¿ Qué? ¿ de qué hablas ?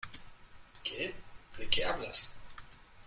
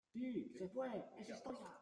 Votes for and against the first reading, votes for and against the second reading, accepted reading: 2, 0, 0, 2, first